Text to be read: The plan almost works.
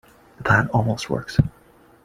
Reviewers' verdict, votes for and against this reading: accepted, 2, 1